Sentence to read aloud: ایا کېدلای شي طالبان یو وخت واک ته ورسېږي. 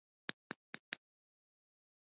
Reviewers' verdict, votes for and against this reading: rejected, 0, 2